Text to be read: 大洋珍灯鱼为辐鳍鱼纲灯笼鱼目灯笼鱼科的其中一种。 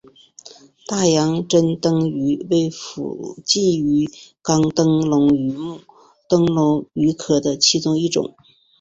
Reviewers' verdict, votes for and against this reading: accepted, 5, 0